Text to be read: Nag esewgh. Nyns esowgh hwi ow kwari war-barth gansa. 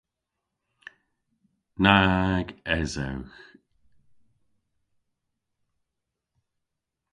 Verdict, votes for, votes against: rejected, 0, 2